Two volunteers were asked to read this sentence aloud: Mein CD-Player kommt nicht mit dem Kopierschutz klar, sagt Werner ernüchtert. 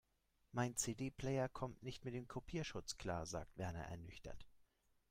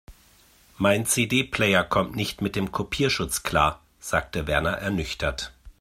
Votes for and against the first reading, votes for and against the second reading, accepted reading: 3, 0, 1, 2, first